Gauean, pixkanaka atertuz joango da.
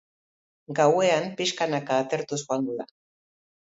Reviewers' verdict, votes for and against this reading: accepted, 3, 1